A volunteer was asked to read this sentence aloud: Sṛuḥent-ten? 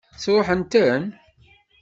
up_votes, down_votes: 2, 0